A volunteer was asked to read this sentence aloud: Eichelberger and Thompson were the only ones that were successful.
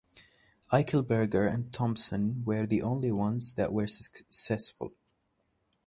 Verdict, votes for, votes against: rejected, 1, 2